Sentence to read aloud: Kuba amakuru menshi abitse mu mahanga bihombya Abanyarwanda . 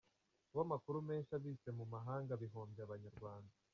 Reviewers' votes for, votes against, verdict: 1, 2, rejected